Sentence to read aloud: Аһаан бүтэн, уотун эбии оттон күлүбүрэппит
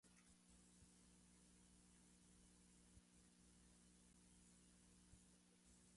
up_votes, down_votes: 0, 2